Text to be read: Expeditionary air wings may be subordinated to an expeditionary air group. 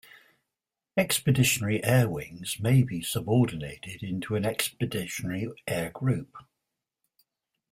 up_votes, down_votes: 0, 2